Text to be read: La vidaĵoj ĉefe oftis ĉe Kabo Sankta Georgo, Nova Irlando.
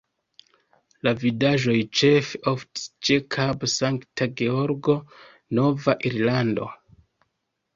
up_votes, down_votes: 2, 1